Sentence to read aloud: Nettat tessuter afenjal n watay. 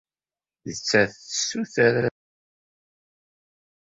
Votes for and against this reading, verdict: 0, 2, rejected